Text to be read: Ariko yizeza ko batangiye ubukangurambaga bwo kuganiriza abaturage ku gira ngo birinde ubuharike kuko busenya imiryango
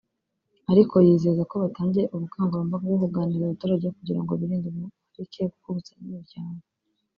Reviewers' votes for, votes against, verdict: 1, 2, rejected